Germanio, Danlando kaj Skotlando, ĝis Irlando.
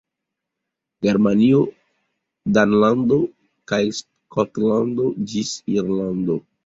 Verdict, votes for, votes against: rejected, 0, 2